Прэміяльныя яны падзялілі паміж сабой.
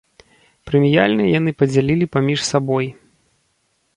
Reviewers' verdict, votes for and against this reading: accepted, 2, 0